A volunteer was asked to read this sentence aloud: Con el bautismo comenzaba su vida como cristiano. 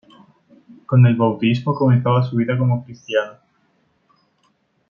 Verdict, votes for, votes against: rejected, 0, 2